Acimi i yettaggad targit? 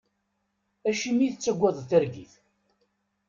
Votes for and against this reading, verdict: 1, 2, rejected